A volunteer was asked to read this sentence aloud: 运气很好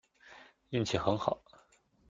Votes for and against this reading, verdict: 2, 0, accepted